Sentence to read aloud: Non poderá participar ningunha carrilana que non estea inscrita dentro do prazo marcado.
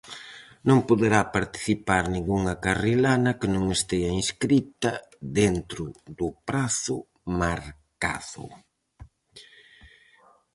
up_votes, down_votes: 2, 2